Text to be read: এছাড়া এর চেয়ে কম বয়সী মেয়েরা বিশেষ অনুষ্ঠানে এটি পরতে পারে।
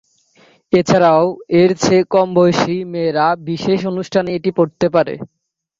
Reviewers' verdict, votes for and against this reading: rejected, 0, 2